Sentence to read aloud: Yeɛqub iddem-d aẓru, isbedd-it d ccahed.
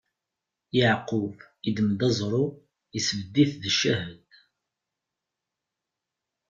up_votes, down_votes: 2, 0